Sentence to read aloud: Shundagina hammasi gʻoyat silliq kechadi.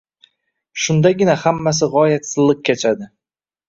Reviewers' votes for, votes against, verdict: 2, 0, accepted